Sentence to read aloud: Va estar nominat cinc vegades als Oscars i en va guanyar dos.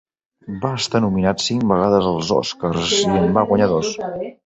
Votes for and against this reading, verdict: 0, 2, rejected